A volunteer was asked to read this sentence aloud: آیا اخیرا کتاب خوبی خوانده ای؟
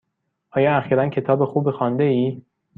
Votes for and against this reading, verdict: 2, 0, accepted